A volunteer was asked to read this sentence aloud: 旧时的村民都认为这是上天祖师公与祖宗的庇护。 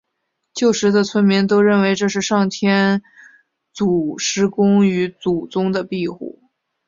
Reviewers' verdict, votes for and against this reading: rejected, 0, 2